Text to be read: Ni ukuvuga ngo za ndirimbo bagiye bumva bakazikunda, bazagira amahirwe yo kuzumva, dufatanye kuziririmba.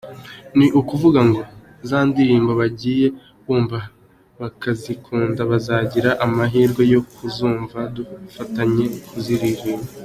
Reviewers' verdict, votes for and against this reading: accepted, 2, 0